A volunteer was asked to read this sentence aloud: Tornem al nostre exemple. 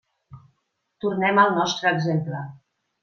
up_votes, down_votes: 3, 0